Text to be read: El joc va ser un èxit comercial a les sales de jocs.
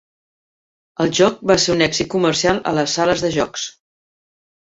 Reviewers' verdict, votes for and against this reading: accepted, 3, 0